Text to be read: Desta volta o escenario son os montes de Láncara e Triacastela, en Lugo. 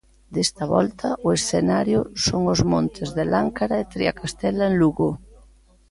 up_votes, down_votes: 2, 0